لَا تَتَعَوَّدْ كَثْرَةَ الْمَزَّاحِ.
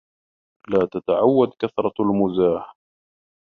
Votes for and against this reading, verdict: 2, 0, accepted